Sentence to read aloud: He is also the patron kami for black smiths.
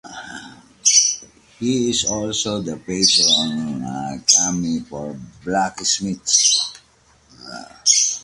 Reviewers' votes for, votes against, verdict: 1, 2, rejected